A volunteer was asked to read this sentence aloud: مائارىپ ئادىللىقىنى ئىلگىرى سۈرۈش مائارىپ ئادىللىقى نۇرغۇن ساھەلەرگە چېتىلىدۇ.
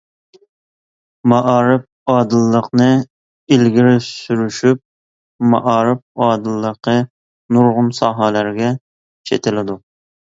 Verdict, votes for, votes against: rejected, 0, 2